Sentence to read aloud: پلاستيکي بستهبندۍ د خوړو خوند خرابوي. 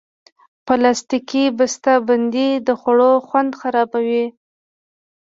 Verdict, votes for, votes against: accepted, 2, 0